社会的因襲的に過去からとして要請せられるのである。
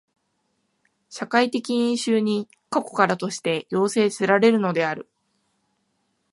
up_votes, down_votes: 0, 2